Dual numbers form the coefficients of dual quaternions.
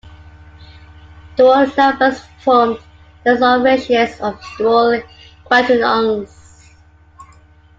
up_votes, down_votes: 0, 2